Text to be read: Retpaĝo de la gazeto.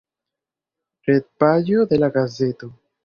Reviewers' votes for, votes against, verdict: 3, 1, accepted